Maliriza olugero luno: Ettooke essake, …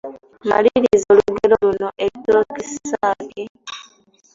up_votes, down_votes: 0, 2